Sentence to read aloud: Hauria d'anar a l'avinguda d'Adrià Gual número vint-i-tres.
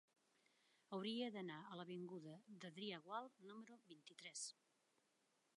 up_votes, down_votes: 1, 2